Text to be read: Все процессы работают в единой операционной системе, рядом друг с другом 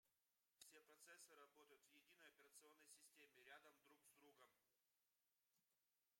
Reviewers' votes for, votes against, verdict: 0, 2, rejected